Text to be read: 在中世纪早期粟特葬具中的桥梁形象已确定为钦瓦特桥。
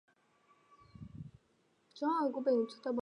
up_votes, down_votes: 0, 2